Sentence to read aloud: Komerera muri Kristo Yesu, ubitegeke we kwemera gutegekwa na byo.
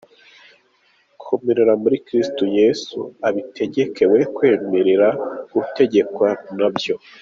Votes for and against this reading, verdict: 2, 1, accepted